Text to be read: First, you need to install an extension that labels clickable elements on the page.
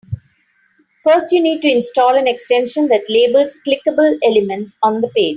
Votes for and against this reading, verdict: 0, 2, rejected